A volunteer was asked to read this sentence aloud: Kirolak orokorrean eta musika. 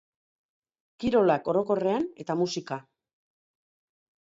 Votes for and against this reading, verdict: 3, 1, accepted